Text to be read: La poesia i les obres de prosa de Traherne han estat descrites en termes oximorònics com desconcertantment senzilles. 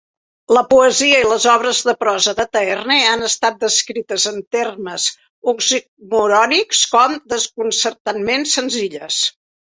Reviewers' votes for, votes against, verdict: 1, 2, rejected